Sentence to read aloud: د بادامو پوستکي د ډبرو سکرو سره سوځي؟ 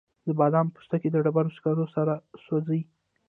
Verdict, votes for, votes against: accepted, 2, 0